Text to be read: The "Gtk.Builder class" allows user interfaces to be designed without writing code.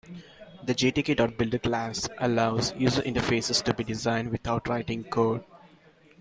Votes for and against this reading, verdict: 2, 0, accepted